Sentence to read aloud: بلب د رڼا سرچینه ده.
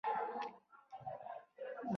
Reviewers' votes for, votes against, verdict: 0, 2, rejected